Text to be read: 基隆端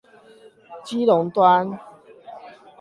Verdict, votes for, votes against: rejected, 4, 4